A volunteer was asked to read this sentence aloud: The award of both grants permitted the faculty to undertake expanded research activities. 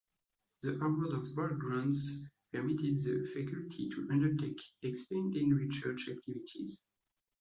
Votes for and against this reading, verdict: 0, 2, rejected